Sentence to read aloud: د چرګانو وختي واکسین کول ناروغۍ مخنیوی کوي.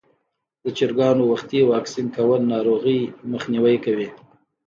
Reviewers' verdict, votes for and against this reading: accepted, 2, 0